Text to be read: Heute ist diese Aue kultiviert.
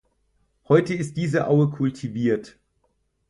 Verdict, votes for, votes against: accepted, 4, 0